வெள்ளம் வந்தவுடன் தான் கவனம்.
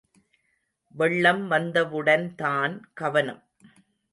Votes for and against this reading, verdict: 2, 0, accepted